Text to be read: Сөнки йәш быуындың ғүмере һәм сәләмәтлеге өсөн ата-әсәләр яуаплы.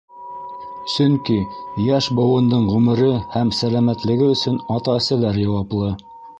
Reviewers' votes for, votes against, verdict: 0, 2, rejected